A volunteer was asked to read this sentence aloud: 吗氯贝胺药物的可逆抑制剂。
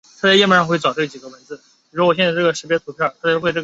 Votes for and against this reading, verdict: 0, 2, rejected